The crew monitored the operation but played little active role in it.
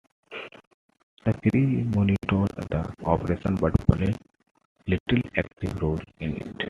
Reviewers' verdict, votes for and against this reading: accepted, 2, 1